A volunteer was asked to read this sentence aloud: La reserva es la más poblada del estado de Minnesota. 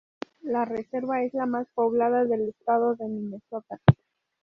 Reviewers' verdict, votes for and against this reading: rejected, 0, 2